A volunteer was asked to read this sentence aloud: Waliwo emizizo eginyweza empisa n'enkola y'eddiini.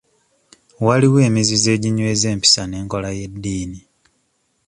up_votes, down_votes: 2, 0